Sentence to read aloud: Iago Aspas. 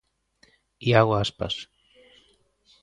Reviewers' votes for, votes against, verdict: 2, 0, accepted